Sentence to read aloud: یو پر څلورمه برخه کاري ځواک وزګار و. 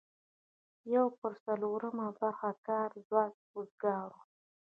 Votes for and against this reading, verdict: 2, 0, accepted